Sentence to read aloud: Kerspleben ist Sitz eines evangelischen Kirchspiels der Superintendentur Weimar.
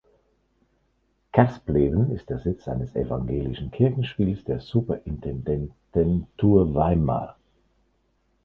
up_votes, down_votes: 0, 2